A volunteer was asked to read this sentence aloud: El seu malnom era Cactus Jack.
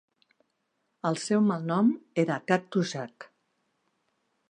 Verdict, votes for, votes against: rejected, 0, 2